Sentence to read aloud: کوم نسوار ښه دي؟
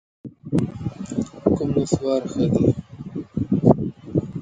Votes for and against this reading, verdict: 1, 2, rejected